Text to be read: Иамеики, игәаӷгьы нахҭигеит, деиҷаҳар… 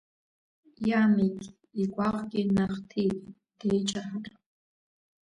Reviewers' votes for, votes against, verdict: 1, 2, rejected